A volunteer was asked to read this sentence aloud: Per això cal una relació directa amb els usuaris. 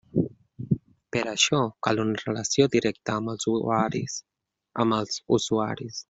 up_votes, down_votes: 0, 2